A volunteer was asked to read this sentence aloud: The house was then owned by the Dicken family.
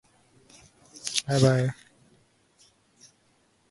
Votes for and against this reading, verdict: 0, 2, rejected